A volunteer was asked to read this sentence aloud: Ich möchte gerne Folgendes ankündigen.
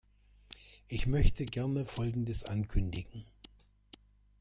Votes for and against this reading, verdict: 2, 0, accepted